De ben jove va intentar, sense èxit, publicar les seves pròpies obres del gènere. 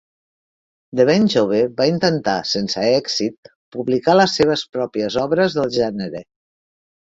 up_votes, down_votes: 3, 0